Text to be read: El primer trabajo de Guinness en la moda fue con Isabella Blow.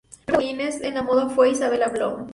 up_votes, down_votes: 0, 2